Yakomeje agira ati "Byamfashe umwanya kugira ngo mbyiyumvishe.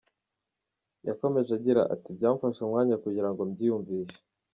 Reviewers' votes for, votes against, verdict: 2, 0, accepted